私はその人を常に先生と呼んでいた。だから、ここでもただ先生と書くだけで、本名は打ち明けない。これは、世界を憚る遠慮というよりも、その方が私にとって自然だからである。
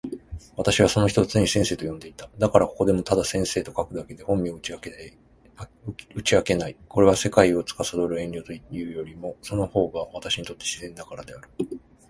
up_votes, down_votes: 4, 0